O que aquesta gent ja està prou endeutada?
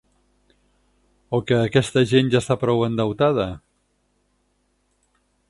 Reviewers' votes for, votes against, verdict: 6, 0, accepted